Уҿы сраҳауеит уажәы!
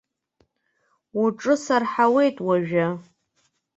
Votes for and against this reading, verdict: 1, 2, rejected